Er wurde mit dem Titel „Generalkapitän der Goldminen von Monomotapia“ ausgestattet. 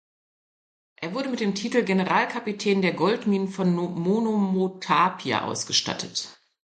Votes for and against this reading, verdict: 1, 2, rejected